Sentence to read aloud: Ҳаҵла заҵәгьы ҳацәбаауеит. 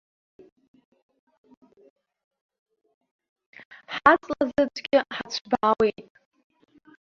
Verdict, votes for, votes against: rejected, 0, 2